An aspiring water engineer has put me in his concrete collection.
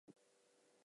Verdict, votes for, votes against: rejected, 0, 4